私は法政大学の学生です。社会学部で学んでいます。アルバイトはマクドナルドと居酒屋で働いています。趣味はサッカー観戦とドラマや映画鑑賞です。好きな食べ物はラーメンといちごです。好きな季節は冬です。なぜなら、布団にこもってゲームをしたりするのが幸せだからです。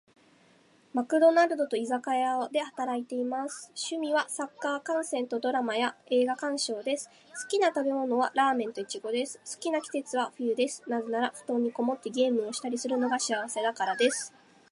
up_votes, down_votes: 2, 1